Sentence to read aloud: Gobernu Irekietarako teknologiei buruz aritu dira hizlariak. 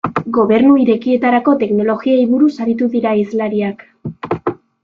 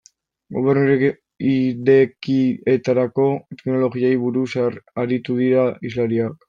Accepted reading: first